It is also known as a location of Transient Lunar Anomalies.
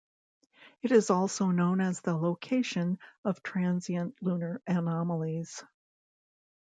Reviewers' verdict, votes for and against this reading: accepted, 2, 0